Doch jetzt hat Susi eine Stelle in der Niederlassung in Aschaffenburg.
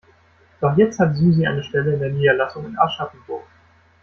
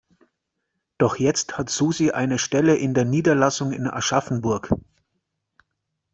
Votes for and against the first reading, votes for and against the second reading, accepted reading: 0, 2, 2, 0, second